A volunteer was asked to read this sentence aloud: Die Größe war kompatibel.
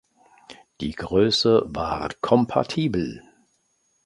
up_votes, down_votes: 2, 0